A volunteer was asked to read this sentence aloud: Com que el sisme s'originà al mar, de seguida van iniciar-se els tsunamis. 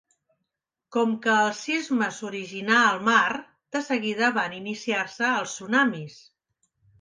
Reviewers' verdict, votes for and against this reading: accepted, 5, 1